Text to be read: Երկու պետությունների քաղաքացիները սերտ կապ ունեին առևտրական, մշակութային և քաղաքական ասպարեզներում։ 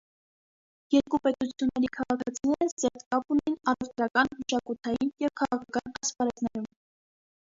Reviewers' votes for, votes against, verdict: 0, 2, rejected